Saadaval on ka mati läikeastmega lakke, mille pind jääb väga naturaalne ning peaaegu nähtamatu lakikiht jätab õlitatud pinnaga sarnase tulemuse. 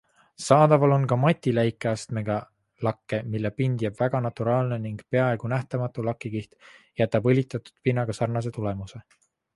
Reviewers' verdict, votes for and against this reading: accepted, 2, 0